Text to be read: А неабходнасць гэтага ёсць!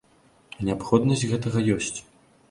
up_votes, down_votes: 0, 2